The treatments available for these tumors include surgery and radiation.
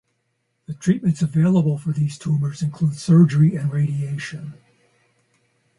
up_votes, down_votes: 2, 2